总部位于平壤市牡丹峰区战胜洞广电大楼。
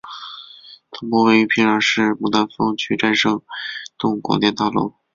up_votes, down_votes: 0, 3